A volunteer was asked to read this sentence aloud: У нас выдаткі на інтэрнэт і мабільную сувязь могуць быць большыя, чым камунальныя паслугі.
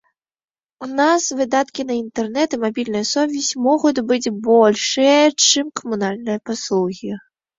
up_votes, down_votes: 0, 2